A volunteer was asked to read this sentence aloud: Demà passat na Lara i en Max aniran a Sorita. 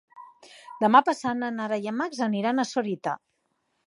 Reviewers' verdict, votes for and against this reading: rejected, 2, 3